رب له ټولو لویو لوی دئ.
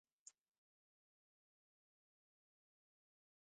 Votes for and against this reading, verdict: 0, 2, rejected